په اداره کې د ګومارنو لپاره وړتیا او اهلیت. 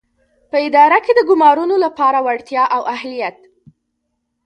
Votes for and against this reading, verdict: 2, 0, accepted